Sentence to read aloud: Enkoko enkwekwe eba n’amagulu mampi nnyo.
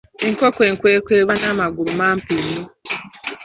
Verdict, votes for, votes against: accepted, 2, 0